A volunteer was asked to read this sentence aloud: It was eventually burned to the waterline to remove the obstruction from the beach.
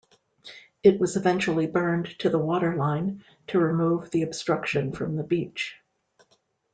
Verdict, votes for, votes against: accepted, 2, 0